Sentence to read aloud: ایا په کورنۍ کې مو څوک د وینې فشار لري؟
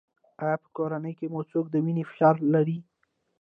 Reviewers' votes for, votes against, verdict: 1, 2, rejected